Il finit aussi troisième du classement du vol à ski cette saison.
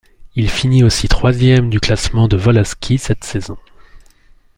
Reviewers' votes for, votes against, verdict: 1, 2, rejected